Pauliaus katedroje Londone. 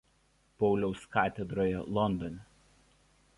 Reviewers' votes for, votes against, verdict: 2, 0, accepted